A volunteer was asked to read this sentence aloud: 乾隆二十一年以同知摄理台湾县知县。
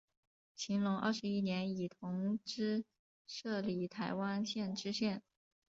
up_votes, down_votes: 5, 0